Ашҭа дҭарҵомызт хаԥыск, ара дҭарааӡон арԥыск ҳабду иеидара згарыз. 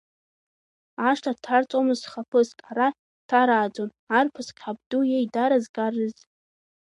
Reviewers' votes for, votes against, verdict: 1, 2, rejected